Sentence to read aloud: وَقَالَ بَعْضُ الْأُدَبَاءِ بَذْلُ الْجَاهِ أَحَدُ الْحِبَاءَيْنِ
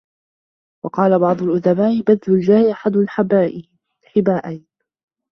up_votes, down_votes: 0, 2